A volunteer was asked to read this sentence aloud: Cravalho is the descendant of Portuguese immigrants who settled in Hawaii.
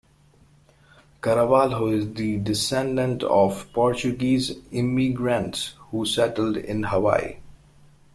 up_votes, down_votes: 0, 2